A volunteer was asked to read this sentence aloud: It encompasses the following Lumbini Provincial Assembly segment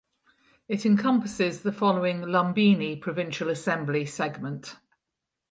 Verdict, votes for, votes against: accepted, 4, 0